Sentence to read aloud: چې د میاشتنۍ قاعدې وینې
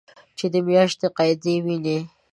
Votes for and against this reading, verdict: 2, 1, accepted